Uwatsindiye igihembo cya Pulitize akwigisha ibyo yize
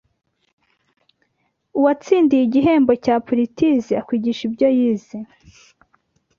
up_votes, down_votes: 2, 0